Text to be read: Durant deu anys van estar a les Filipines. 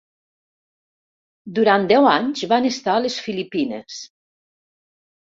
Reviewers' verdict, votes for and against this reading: accepted, 3, 0